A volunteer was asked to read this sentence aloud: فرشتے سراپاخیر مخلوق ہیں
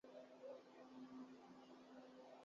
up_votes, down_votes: 3, 15